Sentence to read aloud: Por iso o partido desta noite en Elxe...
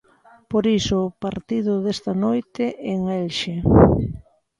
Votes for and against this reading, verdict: 2, 0, accepted